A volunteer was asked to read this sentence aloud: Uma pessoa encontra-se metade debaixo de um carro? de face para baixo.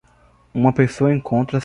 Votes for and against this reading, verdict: 0, 2, rejected